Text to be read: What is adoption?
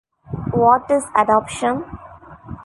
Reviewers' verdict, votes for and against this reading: accepted, 2, 1